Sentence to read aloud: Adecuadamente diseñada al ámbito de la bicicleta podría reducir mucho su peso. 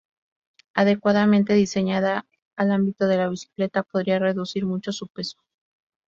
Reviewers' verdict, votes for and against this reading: accepted, 2, 0